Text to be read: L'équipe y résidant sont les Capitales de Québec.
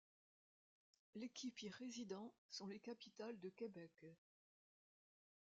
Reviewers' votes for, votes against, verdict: 1, 2, rejected